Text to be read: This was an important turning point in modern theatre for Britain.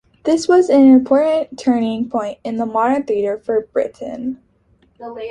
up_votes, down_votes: 2, 0